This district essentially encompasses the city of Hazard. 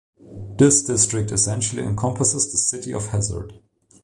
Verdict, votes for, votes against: accepted, 2, 0